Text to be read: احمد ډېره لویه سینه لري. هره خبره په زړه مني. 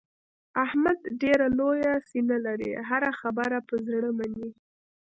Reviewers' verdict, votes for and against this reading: rejected, 1, 2